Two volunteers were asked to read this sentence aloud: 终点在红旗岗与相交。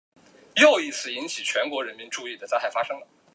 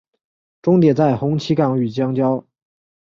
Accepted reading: second